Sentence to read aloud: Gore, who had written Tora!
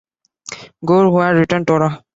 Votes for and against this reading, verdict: 2, 1, accepted